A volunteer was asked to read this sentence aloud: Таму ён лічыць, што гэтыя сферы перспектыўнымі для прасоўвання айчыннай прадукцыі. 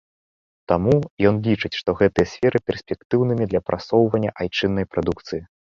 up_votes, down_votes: 2, 1